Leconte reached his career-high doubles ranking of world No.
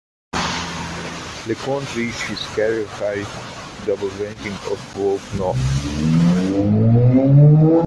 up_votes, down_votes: 1, 2